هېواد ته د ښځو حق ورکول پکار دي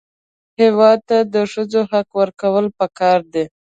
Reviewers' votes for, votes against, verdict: 2, 0, accepted